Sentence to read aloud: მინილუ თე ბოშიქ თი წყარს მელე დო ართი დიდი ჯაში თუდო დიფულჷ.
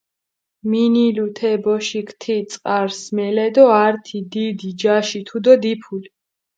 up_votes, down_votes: 4, 0